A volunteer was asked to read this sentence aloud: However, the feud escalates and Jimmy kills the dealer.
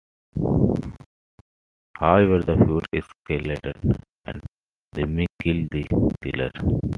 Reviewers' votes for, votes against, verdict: 1, 2, rejected